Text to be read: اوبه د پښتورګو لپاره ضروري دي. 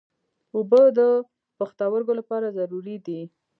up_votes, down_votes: 2, 0